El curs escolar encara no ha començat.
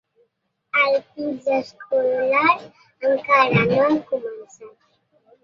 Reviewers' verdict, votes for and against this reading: rejected, 2, 3